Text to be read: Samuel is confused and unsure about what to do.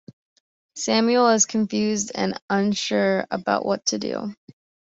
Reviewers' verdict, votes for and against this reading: accepted, 2, 0